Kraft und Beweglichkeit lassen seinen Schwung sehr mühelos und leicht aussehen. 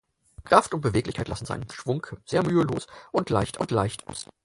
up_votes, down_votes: 0, 4